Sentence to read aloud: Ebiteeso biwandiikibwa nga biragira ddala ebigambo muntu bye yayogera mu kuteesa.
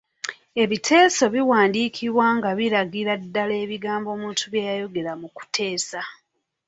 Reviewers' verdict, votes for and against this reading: rejected, 0, 2